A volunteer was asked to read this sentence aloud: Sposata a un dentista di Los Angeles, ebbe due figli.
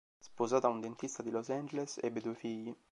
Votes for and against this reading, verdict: 2, 0, accepted